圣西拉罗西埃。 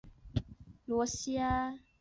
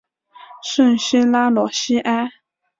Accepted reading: second